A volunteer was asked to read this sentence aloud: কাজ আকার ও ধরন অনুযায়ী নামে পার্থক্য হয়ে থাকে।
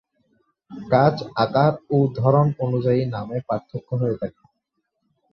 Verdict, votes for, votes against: rejected, 0, 2